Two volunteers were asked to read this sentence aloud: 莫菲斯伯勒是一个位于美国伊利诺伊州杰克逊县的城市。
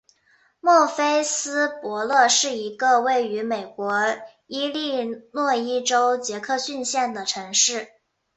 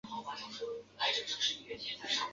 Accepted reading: first